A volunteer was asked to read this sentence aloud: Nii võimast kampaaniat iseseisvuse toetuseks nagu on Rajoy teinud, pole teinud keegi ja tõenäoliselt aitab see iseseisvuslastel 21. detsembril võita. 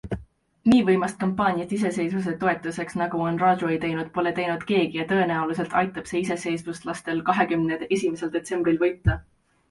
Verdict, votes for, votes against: rejected, 0, 2